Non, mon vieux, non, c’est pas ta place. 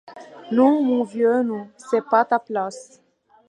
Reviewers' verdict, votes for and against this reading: accepted, 2, 0